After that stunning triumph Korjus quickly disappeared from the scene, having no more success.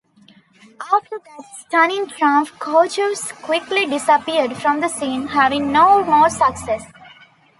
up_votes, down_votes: 2, 0